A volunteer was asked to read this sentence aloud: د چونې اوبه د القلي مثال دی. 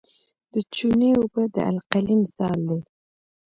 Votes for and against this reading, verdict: 0, 2, rejected